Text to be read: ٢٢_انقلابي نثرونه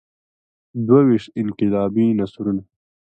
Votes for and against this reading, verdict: 0, 2, rejected